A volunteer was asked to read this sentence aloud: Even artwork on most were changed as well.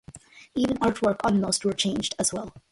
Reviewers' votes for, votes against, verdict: 2, 0, accepted